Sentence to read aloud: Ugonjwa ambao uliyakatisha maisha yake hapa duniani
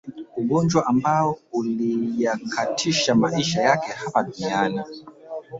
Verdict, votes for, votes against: accepted, 2, 1